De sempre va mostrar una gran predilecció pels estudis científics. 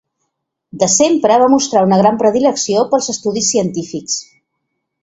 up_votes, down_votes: 2, 0